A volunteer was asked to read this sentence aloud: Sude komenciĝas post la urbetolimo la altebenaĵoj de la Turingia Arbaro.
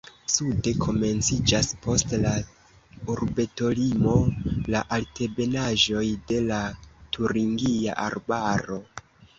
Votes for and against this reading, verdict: 1, 2, rejected